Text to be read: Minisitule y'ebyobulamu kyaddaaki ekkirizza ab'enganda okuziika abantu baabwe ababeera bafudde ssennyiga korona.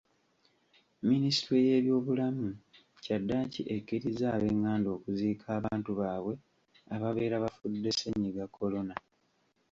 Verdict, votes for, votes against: rejected, 1, 2